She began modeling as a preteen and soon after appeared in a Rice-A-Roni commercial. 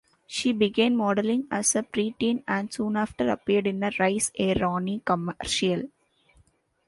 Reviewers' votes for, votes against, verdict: 0, 2, rejected